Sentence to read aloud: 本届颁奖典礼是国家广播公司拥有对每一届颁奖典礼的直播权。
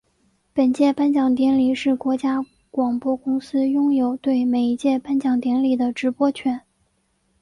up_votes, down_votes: 2, 0